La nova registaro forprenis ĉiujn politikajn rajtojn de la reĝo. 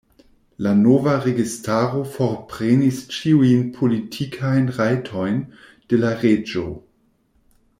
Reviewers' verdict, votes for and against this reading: accepted, 2, 0